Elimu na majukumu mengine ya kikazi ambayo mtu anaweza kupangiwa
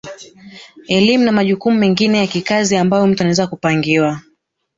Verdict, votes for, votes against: accepted, 3, 2